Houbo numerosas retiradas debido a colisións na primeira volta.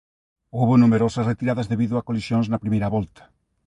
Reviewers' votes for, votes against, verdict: 0, 2, rejected